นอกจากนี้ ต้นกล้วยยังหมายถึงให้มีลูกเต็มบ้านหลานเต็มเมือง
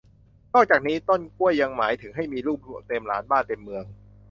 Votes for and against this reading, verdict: 0, 2, rejected